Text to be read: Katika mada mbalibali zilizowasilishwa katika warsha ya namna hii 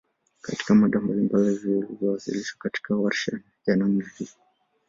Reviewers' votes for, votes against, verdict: 2, 1, accepted